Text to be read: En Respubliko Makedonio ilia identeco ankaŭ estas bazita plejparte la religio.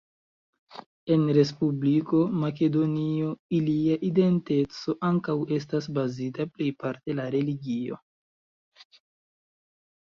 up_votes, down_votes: 2, 1